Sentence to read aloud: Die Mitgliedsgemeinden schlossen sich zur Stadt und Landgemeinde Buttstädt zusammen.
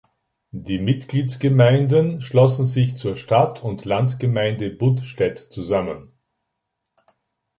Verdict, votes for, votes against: accepted, 2, 0